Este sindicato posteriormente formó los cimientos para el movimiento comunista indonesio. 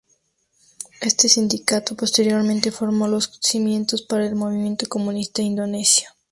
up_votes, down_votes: 2, 0